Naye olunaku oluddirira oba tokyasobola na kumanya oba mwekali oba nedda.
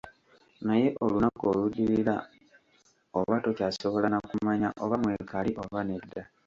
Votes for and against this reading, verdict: 1, 2, rejected